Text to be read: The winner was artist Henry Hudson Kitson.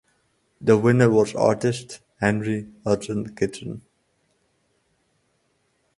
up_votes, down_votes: 4, 0